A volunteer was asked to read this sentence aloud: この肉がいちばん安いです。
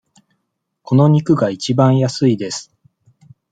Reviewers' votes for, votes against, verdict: 2, 0, accepted